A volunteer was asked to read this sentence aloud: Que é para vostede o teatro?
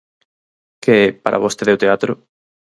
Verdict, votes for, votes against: accepted, 4, 0